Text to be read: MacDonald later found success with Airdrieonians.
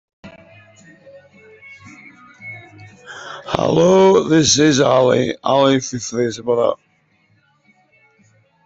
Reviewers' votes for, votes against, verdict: 0, 3, rejected